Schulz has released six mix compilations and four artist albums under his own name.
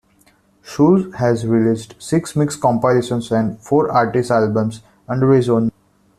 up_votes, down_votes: 1, 2